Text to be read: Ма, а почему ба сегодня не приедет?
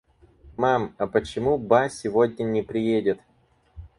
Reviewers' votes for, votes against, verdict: 0, 4, rejected